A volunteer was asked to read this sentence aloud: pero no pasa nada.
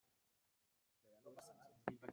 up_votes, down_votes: 0, 2